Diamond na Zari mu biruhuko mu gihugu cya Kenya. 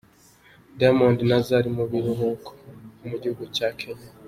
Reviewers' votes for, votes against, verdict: 3, 0, accepted